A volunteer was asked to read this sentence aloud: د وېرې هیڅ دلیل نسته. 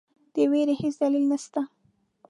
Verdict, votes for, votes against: accepted, 2, 0